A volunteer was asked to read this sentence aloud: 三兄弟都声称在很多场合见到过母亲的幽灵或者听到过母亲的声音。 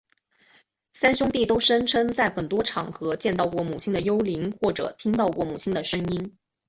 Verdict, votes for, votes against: accepted, 4, 0